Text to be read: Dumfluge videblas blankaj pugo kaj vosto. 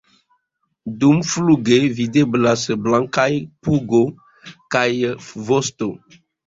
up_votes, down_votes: 1, 2